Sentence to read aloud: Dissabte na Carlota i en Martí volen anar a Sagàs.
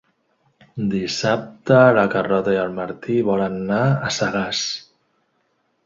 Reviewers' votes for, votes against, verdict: 1, 2, rejected